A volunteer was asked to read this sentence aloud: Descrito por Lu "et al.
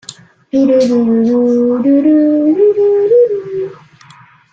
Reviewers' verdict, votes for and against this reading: rejected, 0, 2